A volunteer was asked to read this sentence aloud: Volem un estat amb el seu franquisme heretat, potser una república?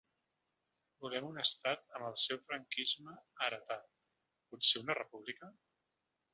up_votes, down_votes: 2, 0